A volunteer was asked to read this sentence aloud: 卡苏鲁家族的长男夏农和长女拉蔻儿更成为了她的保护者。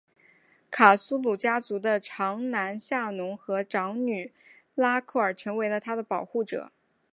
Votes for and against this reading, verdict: 2, 0, accepted